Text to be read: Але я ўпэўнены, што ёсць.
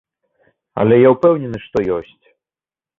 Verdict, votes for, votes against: accepted, 2, 0